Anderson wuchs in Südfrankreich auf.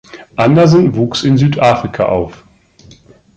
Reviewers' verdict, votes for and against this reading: rejected, 0, 2